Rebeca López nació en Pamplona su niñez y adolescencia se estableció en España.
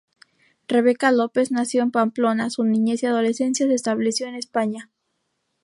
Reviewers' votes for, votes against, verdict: 2, 0, accepted